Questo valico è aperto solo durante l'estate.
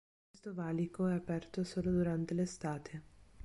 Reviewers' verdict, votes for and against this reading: rejected, 1, 2